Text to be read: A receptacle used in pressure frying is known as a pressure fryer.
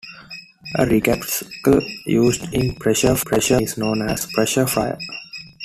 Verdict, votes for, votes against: accepted, 2, 1